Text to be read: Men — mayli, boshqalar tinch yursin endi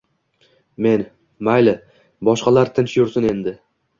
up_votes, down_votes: 2, 0